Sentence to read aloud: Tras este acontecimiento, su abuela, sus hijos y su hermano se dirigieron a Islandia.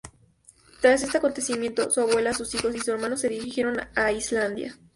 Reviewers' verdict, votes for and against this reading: accepted, 2, 0